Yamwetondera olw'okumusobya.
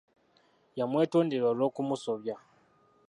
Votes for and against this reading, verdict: 2, 1, accepted